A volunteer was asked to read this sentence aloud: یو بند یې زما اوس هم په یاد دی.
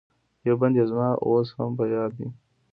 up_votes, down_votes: 2, 0